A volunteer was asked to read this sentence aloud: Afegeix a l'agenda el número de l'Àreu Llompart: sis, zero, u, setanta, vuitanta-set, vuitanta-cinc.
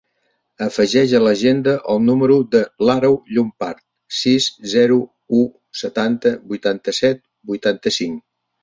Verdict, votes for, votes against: accepted, 2, 0